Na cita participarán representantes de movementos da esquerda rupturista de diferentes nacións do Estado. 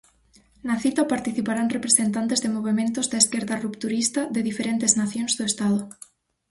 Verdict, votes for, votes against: accepted, 4, 0